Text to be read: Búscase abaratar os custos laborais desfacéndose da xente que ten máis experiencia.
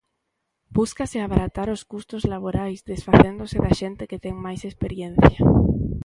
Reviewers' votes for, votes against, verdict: 2, 0, accepted